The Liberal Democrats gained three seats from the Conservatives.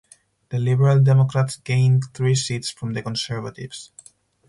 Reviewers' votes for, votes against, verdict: 6, 0, accepted